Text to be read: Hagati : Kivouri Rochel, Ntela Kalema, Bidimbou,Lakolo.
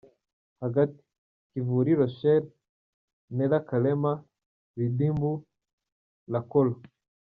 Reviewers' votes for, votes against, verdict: 2, 4, rejected